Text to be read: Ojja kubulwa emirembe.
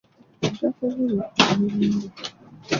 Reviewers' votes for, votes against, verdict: 0, 2, rejected